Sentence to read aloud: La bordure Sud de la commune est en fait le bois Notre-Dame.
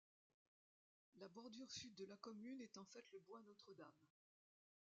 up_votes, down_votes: 0, 2